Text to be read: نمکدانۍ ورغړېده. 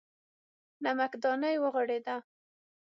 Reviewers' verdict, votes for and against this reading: rejected, 0, 6